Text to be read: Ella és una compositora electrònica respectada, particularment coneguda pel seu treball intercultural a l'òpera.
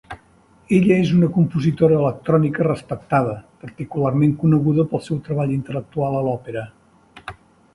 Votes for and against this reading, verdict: 0, 2, rejected